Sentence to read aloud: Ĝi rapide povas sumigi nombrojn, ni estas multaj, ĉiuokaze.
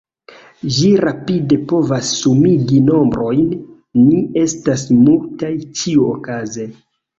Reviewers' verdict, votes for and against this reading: accepted, 2, 0